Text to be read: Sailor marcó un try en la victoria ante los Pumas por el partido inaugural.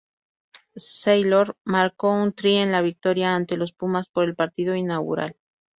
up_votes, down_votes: 2, 0